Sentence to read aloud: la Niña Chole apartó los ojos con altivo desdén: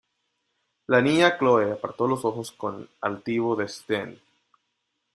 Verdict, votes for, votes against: rejected, 1, 2